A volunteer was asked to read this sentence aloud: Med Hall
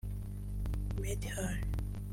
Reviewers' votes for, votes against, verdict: 0, 2, rejected